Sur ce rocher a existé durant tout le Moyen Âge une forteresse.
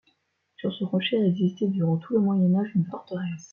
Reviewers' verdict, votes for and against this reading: accepted, 2, 0